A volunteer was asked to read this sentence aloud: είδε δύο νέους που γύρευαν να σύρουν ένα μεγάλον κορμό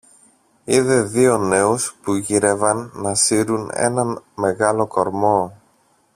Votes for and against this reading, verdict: 0, 2, rejected